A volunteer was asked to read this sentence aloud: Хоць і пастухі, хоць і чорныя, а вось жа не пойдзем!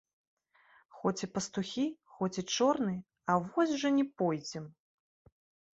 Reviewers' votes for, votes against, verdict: 2, 0, accepted